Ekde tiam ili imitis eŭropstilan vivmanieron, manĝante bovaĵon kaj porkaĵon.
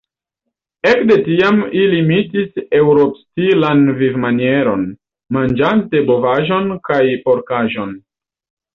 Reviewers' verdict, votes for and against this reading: accepted, 2, 0